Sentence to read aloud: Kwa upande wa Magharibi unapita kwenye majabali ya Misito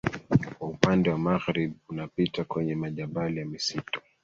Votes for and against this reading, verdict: 1, 2, rejected